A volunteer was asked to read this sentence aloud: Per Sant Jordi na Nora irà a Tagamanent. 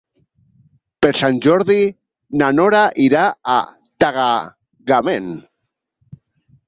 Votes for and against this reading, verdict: 0, 2, rejected